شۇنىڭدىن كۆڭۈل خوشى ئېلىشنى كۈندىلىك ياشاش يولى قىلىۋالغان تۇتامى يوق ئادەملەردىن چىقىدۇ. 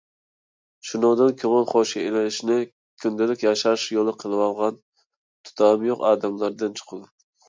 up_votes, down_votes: 2, 0